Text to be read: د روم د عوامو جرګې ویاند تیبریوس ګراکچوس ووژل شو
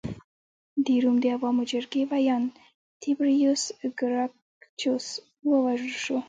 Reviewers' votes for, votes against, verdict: 1, 2, rejected